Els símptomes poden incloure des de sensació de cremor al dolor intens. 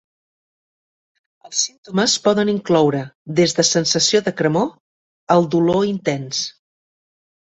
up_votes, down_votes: 1, 2